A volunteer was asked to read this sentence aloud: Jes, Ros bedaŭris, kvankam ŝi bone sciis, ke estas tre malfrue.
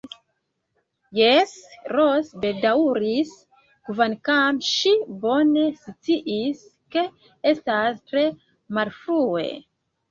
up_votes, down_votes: 1, 2